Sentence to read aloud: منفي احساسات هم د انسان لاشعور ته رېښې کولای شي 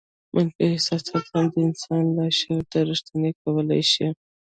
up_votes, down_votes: 1, 2